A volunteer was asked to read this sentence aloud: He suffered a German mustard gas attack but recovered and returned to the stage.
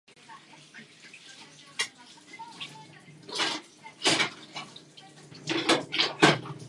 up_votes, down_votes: 0, 2